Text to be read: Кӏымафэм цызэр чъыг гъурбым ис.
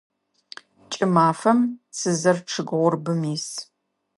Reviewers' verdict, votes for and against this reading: accepted, 2, 0